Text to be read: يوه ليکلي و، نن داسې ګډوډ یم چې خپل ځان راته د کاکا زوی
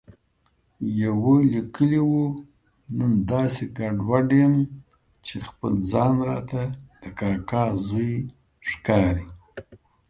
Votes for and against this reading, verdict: 3, 2, accepted